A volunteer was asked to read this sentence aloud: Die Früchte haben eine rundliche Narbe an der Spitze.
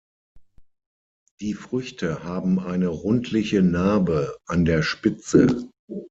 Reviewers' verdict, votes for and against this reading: accepted, 6, 0